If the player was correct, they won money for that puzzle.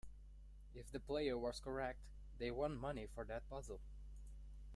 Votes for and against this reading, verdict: 2, 0, accepted